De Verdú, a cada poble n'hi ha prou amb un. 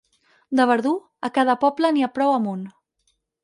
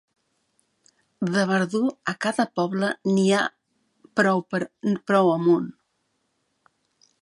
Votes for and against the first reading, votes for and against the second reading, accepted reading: 4, 0, 0, 3, first